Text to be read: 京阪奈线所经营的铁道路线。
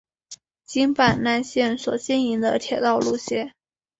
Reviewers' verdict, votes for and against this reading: accepted, 3, 0